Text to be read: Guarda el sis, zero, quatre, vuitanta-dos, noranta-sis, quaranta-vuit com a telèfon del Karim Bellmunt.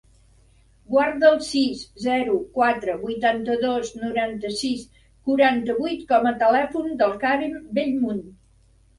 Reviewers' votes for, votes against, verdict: 2, 1, accepted